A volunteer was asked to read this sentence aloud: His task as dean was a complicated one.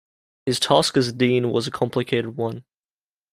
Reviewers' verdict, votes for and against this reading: accepted, 2, 0